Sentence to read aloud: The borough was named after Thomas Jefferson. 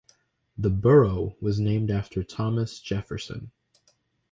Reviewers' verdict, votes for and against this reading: accepted, 2, 0